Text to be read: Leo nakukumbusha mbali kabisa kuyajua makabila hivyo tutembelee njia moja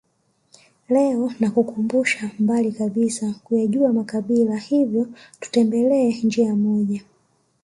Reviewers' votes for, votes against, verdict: 0, 2, rejected